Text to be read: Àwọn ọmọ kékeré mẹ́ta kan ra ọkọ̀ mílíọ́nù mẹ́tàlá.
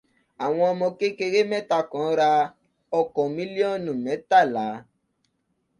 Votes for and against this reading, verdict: 2, 0, accepted